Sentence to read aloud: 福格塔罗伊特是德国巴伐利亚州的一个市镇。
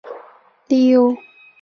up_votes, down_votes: 1, 4